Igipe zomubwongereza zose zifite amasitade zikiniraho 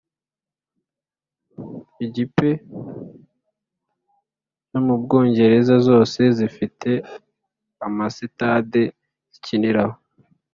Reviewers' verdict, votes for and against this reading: accepted, 2, 0